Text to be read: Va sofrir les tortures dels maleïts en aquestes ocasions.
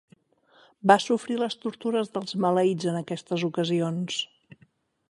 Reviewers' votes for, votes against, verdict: 6, 0, accepted